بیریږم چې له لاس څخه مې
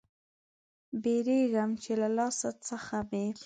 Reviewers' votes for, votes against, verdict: 2, 0, accepted